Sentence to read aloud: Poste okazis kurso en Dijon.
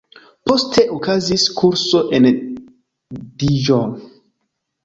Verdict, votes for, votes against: rejected, 1, 2